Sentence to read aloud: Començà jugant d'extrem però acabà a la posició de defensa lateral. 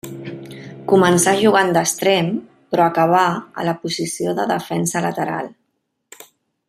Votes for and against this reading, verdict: 1, 2, rejected